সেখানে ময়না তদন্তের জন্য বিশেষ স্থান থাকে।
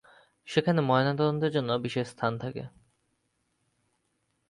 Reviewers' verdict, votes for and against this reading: rejected, 2, 3